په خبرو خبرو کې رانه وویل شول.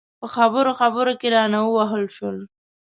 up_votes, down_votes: 1, 2